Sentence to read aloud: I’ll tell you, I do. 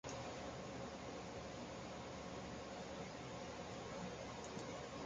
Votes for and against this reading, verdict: 0, 2, rejected